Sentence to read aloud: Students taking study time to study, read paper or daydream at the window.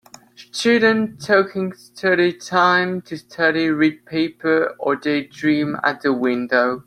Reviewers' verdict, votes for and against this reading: rejected, 1, 2